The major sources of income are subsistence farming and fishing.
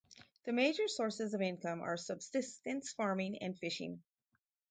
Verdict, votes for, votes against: accepted, 4, 0